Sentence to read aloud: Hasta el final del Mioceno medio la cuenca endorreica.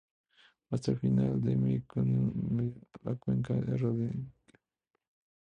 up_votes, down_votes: 0, 2